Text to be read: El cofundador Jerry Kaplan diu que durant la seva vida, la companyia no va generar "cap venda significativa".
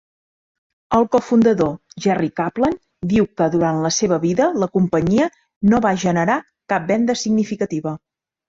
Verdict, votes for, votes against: accepted, 4, 0